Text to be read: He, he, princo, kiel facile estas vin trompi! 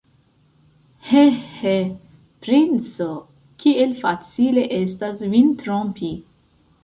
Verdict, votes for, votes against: accepted, 2, 0